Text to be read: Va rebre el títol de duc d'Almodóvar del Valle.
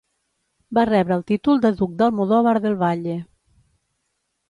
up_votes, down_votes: 0, 2